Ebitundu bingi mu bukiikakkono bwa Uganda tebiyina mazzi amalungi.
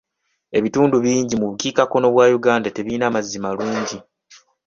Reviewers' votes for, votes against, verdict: 1, 2, rejected